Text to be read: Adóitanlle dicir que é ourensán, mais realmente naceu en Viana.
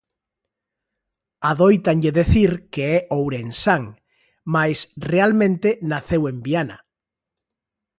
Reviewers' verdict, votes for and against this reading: rejected, 0, 2